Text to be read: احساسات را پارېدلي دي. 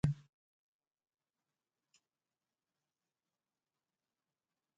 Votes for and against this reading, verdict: 0, 2, rejected